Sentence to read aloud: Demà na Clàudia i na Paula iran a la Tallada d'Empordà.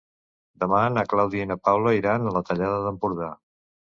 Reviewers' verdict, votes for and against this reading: accepted, 2, 0